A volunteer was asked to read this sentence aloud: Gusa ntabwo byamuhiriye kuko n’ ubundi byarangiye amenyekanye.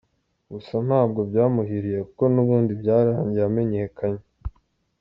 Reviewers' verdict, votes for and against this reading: accepted, 2, 0